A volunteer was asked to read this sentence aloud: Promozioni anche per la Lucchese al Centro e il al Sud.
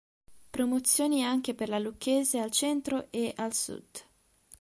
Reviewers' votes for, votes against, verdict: 1, 3, rejected